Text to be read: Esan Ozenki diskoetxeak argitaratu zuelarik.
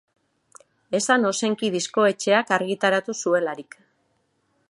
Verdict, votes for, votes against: accepted, 12, 0